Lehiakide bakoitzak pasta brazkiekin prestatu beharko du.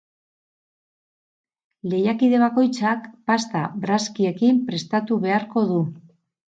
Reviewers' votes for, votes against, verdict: 4, 0, accepted